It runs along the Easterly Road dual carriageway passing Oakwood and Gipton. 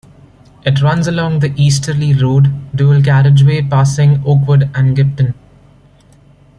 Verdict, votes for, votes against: accepted, 2, 0